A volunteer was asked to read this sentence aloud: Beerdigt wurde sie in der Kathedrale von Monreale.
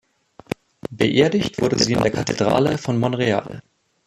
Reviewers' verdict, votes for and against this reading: rejected, 1, 2